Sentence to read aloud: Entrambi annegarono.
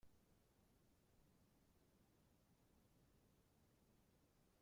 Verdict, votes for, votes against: rejected, 0, 2